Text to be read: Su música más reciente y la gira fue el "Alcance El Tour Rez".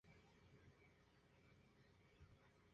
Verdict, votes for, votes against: accepted, 2, 0